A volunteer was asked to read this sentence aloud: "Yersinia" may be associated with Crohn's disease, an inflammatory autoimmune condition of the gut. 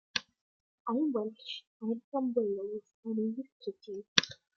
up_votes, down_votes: 0, 2